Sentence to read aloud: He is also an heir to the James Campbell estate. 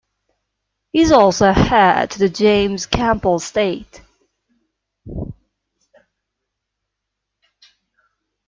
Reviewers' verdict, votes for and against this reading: rejected, 1, 2